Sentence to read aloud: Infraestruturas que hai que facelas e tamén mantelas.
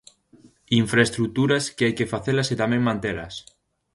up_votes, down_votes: 2, 0